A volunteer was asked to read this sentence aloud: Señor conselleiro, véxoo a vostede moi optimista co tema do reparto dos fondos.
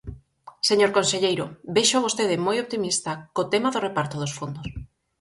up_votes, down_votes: 4, 0